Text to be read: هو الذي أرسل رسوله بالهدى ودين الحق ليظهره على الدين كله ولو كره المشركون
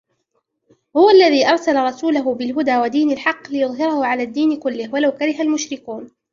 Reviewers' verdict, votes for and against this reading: rejected, 0, 2